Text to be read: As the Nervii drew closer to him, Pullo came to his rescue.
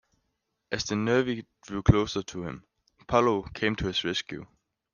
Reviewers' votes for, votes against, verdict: 1, 2, rejected